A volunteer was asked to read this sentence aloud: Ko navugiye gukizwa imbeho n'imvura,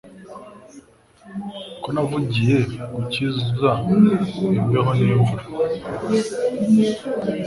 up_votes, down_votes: 0, 2